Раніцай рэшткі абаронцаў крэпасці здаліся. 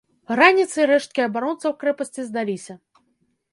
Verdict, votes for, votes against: accepted, 2, 0